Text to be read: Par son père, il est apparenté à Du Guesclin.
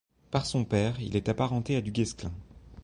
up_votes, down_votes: 1, 2